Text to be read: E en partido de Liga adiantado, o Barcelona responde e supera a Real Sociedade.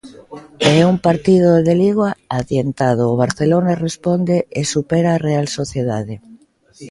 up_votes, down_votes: 0, 2